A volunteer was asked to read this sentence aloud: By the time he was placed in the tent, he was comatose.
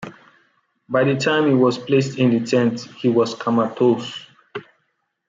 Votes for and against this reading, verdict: 2, 0, accepted